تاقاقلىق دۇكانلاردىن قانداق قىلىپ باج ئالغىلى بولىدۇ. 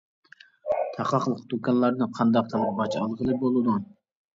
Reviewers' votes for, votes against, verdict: 1, 2, rejected